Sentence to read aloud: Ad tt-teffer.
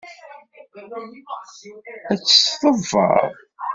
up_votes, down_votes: 2, 3